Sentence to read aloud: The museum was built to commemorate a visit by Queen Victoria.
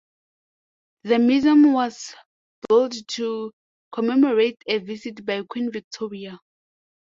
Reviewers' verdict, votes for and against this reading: accepted, 2, 1